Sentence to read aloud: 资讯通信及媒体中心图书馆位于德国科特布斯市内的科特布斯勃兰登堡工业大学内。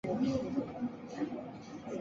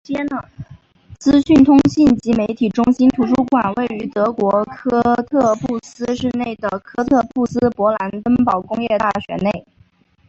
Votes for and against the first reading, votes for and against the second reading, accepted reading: 0, 4, 3, 1, second